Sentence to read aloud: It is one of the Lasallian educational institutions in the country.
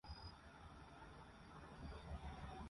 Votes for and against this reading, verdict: 0, 2, rejected